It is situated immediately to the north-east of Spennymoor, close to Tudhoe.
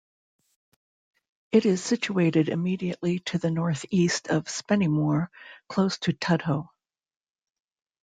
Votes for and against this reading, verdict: 2, 0, accepted